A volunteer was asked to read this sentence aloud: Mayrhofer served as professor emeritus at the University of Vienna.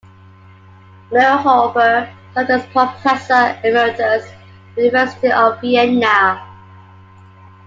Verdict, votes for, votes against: accepted, 2, 1